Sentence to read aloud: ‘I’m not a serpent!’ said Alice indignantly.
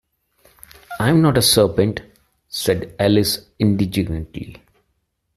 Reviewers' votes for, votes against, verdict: 0, 2, rejected